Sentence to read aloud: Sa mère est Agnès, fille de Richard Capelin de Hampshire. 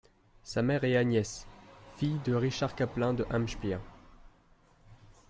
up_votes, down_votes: 1, 2